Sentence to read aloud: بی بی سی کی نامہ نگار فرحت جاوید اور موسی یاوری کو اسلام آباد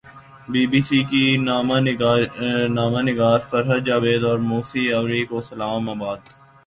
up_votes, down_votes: 1, 2